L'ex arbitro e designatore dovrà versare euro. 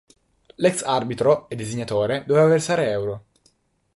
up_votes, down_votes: 1, 3